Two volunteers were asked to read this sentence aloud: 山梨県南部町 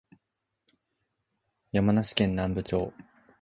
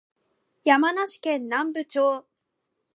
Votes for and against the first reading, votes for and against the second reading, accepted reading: 4, 0, 1, 2, first